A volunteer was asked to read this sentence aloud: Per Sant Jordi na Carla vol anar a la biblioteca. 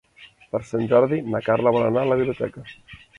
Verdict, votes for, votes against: rejected, 1, 2